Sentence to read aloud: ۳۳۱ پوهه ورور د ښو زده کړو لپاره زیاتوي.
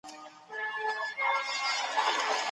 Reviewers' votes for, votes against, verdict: 0, 2, rejected